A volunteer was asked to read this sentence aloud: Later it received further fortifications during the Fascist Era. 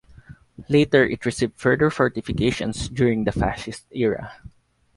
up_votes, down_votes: 2, 0